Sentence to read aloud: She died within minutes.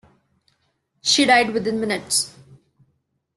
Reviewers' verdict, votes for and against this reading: accepted, 2, 0